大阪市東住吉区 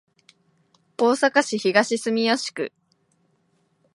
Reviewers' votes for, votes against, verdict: 2, 0, accepted